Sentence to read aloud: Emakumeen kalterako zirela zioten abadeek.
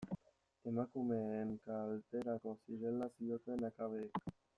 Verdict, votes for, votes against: rejected, 0, 2